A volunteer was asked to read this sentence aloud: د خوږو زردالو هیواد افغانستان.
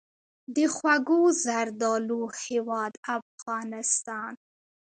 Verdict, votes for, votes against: accepted, 2, 1